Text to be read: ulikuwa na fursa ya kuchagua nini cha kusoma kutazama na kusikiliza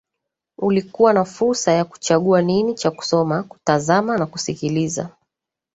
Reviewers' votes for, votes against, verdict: 2, 1, accepted